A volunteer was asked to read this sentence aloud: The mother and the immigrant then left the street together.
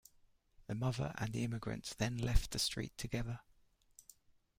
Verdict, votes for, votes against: rejected, 1, 2